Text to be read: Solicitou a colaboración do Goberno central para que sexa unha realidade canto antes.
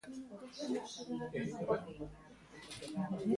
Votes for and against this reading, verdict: 0, 2, rejected